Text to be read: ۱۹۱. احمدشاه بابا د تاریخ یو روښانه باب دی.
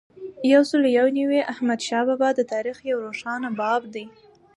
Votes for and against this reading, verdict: 0, 2, rejected